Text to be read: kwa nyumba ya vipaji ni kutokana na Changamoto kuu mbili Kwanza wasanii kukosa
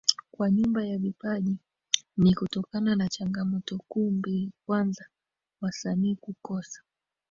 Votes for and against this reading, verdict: 2, 3, rejected